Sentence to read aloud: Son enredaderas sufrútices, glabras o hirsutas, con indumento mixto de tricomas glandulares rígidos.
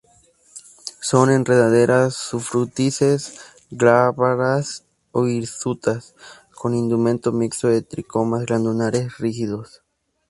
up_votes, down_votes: 0, 2